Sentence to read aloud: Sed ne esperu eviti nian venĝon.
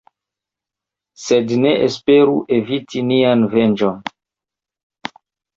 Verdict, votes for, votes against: rejected, 0, 2